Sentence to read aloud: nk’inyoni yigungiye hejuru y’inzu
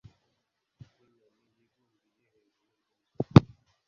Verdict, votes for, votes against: accepted, 3, 1